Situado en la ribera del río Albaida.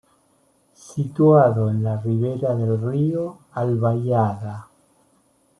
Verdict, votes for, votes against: rejected, 0, 2